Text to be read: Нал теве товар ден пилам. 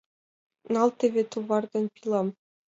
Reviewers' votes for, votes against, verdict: 2, 0, accepted